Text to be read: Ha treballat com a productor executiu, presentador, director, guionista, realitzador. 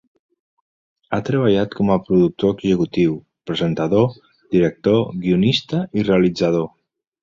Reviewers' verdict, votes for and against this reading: rejected, 1, 2